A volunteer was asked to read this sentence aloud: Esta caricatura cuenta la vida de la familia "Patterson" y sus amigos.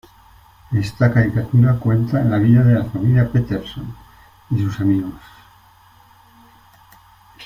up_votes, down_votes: 2, 0